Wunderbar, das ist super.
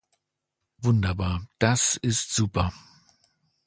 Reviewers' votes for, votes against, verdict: 2, 0, accepted